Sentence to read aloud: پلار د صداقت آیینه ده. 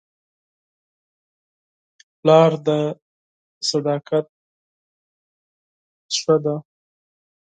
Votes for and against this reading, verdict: 2, 4, rejected